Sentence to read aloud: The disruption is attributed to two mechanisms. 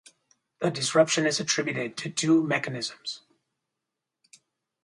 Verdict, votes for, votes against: accepted, 4, 0